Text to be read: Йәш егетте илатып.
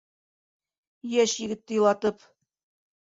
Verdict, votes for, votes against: rejected, 1, 2